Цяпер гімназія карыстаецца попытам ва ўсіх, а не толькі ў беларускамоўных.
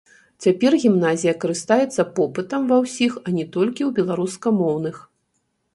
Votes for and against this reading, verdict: 0, 2, rejected